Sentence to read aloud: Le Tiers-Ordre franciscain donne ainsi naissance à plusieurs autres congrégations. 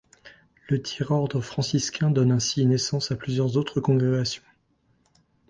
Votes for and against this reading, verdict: 2, 0, accepted